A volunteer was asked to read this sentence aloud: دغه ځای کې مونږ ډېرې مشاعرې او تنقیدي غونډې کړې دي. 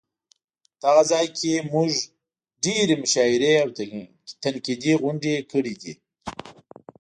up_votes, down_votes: 1, 2